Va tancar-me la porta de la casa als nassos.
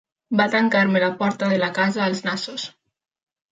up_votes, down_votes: 3, 0